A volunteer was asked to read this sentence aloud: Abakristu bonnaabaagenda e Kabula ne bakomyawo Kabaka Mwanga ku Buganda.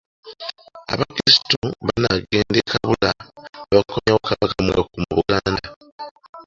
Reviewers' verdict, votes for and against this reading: rejected, 0, 2